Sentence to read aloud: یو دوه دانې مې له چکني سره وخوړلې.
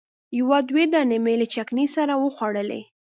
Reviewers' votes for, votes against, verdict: 3, 0, accepted